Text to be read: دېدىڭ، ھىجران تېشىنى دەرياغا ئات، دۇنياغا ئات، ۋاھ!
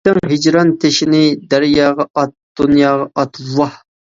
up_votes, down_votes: 0, 2